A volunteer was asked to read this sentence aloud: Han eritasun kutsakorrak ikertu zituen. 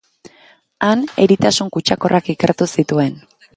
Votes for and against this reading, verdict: 3, 0, accepted